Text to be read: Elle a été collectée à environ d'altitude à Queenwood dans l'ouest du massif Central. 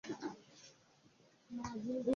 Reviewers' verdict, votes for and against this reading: rejected, 0, 2